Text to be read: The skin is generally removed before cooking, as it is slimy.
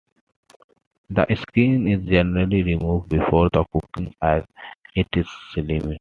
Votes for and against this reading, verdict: 0, 2, rejected